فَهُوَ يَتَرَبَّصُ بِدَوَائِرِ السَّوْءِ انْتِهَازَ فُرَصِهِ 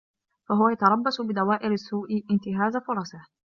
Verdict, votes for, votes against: accepted, 2, 0